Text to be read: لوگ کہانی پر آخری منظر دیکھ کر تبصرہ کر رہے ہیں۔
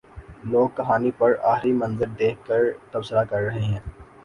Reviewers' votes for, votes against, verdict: 2, 0, accepted